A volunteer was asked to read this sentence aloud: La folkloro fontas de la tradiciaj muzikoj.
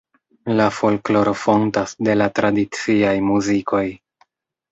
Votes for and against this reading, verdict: 2, 0, accepted